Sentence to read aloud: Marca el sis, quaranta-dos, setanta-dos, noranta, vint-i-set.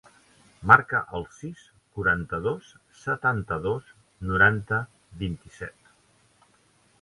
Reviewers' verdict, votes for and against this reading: accepted, 2, 0